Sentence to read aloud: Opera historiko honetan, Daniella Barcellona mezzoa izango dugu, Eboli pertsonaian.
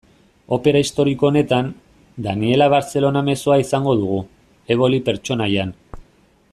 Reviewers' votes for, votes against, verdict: 2, 0, accepted